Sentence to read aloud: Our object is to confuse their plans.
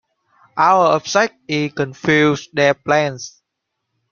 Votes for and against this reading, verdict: 1, 2, rejected